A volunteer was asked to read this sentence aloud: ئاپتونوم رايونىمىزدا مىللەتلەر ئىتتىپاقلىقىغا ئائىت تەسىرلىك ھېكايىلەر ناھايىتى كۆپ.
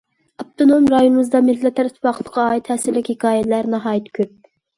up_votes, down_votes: 2, 1